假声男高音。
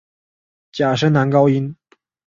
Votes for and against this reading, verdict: 4, 0, accepted